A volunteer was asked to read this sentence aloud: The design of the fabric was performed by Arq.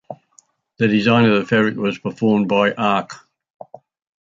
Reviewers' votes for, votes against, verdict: 2, 0, accepted